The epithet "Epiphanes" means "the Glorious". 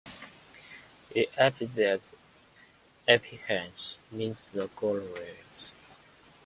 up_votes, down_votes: 2, 0